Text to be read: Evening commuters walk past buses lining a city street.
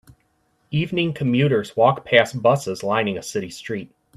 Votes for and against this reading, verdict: 2, 0, accepted